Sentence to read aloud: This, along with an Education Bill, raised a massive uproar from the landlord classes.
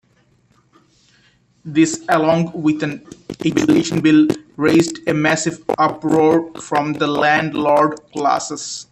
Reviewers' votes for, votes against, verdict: 2, 3, rejected